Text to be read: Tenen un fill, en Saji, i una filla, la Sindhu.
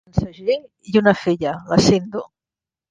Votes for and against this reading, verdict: 0, 2, rejected